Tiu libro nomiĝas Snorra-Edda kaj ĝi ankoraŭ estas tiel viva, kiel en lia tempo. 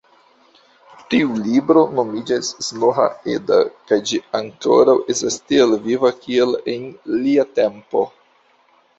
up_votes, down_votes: 2, 1